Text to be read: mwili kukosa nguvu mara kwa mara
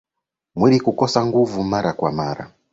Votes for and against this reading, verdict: 3, 0, accepted